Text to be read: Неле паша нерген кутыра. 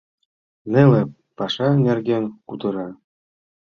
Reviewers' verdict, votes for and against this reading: accepted, 2, 0